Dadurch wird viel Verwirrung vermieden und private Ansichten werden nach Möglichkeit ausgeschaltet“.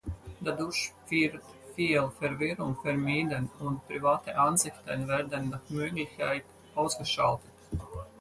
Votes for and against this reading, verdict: 0, 4, rejected